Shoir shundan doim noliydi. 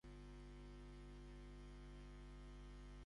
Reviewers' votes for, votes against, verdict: 0, 2, rejected